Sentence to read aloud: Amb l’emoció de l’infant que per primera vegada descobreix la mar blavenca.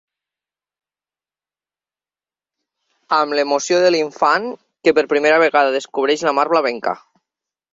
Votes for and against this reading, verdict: 3, 0, accepted